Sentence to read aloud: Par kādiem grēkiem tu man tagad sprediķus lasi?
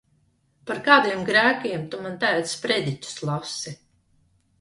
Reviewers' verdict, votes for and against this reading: accepted, 2, 1